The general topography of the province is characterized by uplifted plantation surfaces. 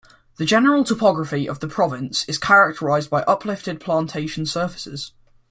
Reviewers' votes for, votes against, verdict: 2, 0, accepted